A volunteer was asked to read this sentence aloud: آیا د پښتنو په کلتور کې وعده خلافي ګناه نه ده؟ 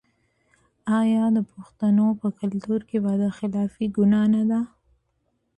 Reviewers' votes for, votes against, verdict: 2, 0, accepted